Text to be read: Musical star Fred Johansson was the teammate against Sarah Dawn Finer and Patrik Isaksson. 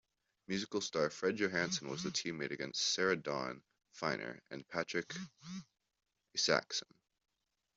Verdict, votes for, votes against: rejected, 1, 2